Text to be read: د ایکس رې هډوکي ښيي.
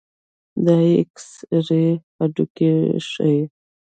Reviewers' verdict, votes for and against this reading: rejected, 1, 2